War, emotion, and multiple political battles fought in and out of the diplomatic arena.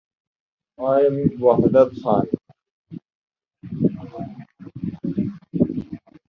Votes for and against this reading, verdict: 0, 2, rejected